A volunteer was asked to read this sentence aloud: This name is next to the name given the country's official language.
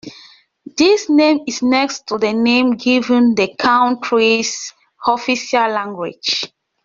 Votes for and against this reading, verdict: 2, 1, accepted